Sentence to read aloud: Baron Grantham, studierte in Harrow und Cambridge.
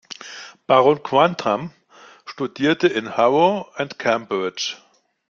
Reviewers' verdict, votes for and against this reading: rejected, 0, 2